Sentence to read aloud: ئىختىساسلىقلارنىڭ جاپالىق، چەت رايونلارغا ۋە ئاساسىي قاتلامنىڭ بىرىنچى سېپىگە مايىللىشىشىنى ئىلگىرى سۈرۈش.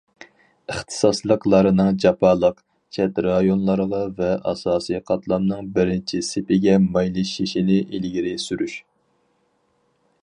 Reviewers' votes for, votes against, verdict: 2, 4, rejected